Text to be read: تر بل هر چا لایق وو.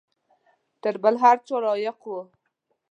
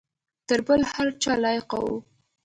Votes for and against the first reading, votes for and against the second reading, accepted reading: 0, 2, 2, 0, second